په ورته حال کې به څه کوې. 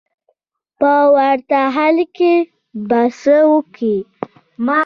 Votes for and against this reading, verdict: 0, 2, rejected